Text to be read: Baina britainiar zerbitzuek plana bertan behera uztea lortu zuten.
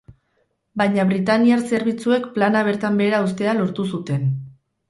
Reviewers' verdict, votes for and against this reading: rejected, 2, 2